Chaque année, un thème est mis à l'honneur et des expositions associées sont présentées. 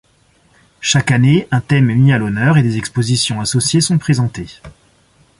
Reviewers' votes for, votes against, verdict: 2, 0, accepted